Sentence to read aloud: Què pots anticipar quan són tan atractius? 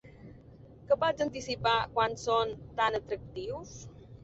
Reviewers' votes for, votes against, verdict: 1, 2, rejected